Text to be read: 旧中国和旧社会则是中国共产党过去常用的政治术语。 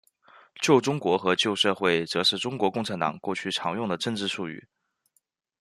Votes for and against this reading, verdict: 2, 0, accepted